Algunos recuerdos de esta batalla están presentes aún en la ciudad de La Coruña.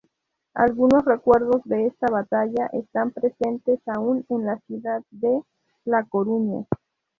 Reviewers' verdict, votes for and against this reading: accepted, 2, 0